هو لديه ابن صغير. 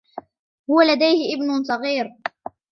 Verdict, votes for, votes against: rejected, 0, 2